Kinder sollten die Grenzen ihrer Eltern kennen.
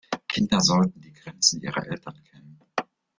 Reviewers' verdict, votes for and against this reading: rejected, 0, 4